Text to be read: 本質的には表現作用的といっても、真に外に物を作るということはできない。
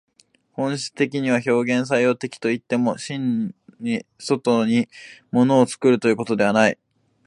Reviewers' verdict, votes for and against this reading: rejected, 3, 5